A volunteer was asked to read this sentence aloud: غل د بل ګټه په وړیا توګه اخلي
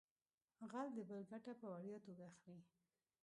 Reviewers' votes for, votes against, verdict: 1, 2, rejected